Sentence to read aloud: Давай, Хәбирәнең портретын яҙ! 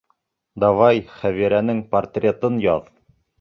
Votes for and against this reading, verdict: 2, 0, accepted